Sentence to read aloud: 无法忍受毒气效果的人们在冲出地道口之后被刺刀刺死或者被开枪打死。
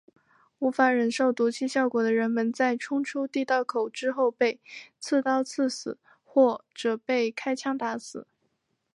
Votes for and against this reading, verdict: 0, 2, rejected